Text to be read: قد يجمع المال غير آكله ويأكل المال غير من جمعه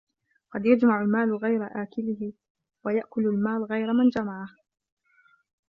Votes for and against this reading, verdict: 1, 2, rejected